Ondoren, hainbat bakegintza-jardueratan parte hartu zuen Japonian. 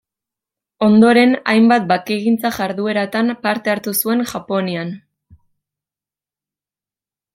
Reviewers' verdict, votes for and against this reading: accepted, 2, 0